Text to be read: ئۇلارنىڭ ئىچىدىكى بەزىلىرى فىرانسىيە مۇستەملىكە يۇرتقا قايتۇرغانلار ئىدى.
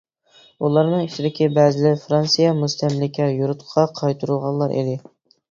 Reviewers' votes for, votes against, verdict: 1, 2, rejected